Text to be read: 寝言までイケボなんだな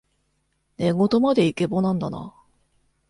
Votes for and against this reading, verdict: 2, 0, accepted